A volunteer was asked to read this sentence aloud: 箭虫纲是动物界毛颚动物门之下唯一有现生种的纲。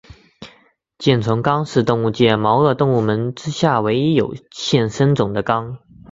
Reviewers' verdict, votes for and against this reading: accepted, 5, 0